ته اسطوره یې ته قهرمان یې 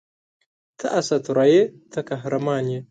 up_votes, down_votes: 7, 1